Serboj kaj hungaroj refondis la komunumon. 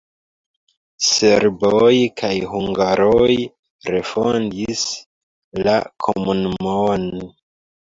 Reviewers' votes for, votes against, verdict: 0, 2, rejected